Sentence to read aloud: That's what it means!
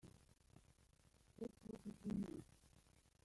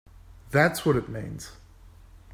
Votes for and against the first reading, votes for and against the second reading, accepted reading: 0, 3, 2, 1, second